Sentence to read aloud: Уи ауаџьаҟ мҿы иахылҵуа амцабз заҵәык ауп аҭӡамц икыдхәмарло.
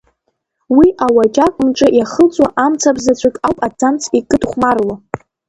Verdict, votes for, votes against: rejected, 0, 2